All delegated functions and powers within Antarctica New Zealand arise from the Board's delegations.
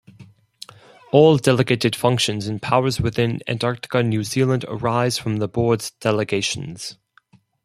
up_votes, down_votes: 4, 0